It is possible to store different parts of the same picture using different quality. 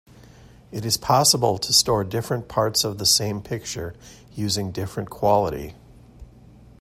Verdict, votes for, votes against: accepted, 2, 0